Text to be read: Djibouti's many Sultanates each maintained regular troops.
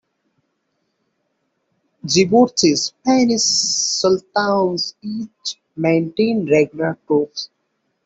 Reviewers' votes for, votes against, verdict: 1, 2, rejected